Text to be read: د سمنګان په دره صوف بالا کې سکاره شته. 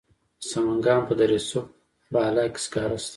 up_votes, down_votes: 2, 0